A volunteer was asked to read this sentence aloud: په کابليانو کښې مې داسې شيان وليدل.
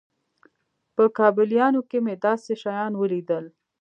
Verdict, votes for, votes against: accepted, 2, 0